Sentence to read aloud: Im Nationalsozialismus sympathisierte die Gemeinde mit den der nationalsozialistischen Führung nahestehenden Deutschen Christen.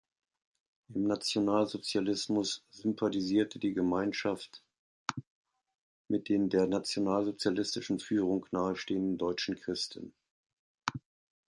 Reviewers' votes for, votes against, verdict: 0, 2, rejected